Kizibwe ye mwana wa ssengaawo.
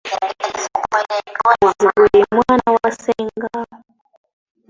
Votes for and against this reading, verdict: 0, 2, rejected